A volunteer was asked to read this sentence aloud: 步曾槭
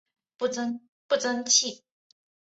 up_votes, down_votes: 1, 3